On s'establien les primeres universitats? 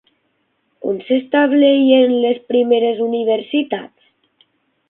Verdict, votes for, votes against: rejected, 0, 9